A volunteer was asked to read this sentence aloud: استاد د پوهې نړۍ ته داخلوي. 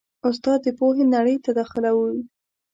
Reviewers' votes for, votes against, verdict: 2, 0, accepted